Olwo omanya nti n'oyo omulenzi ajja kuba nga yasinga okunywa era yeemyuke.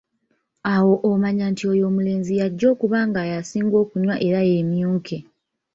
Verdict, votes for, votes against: rejected, 1, 2